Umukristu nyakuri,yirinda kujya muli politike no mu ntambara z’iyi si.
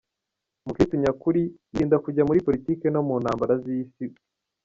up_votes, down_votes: 1, 2